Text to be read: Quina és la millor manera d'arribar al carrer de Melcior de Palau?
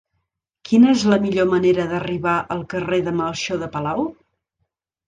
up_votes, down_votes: 0, 2